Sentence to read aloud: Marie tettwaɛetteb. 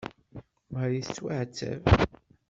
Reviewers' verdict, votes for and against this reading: accepted, 2, 0